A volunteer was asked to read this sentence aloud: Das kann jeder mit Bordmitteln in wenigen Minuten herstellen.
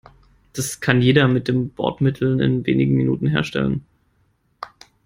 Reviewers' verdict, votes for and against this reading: rejected, 1, 2